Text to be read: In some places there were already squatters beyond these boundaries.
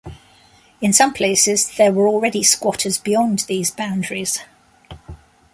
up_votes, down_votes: 2, 0